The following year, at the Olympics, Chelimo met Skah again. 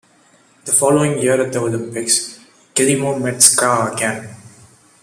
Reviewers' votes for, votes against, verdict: 2, 0, accepted